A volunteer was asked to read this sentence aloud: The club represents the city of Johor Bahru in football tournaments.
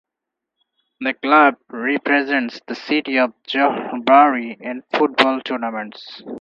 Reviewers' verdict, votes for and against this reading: rejected, 2, 4